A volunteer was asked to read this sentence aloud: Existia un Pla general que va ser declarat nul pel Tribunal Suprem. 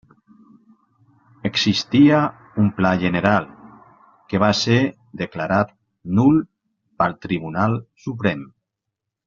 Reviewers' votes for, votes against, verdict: 1, 2, rejected